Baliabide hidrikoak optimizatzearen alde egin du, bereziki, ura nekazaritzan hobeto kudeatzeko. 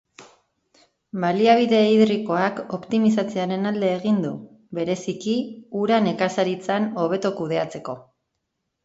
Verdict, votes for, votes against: accepted, 3, 0